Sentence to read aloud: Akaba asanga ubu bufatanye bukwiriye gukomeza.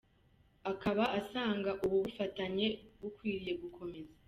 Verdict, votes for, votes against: accepted, 2, 0